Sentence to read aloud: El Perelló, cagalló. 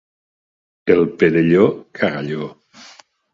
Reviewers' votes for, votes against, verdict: 3, 0, accepted